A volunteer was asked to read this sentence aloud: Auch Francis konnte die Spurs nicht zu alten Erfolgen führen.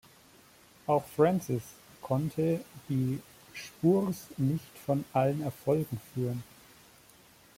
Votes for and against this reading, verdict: 1, 2, rejected